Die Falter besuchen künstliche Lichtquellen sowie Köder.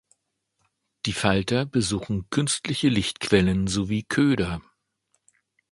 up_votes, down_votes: 2, 0